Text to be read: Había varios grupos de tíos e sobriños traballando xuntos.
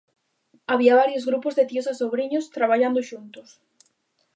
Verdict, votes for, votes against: accepted, 2, 0